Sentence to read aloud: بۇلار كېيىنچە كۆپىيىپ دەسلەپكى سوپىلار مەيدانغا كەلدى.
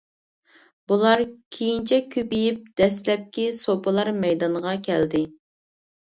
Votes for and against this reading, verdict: 3, 0, accepted